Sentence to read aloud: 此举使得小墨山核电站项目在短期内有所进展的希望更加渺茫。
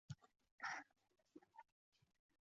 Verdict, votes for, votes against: rejected, 0, 2